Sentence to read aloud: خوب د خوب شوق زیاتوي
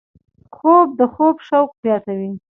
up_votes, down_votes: 2, 0